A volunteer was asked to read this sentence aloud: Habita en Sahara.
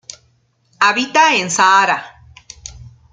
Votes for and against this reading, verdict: 2, 0, accepted